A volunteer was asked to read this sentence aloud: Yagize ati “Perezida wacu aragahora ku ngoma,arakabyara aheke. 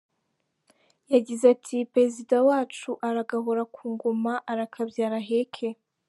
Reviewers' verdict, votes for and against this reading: accepted, 2, 0